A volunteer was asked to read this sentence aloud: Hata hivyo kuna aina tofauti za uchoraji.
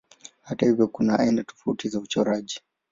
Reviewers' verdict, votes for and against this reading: accepted, 4, 0